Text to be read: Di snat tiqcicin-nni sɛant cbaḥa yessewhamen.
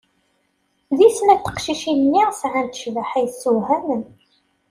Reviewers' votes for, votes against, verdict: 2, 0, accepted